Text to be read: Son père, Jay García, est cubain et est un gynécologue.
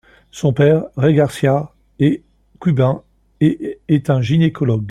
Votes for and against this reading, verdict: 2, 0, accepted